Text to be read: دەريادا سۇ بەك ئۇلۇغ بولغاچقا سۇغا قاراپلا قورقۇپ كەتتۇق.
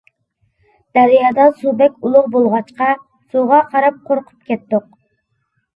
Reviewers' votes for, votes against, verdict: 0, 2, rejected